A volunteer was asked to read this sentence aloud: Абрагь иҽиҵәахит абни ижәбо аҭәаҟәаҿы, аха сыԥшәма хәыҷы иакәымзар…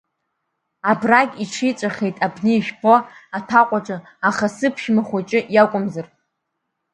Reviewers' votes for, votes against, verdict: 1, 2, rejected